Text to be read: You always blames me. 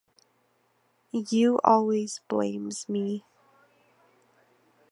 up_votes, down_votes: 1, 2